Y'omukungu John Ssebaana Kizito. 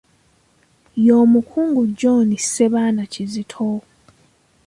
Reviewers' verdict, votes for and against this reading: rejected, 1, 2